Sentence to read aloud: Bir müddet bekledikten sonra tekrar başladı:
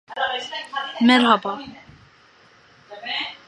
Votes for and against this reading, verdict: 0, 2, rejected